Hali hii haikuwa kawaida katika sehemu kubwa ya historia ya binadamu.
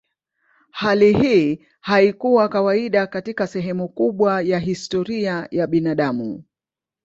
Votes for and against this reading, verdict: 4, 0, accepted